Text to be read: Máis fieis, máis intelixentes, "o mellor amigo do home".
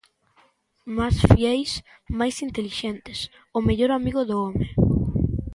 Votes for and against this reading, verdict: 1, 2, rejected